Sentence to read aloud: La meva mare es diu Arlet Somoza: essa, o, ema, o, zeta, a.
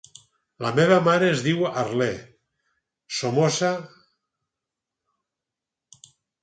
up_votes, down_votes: 0, 4